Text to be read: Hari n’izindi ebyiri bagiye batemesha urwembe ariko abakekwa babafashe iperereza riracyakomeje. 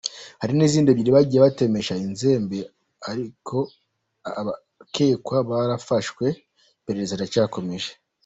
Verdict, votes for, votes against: rejected, 0, 2